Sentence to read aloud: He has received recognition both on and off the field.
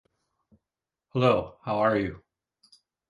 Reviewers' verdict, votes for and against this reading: rejected, 0, 2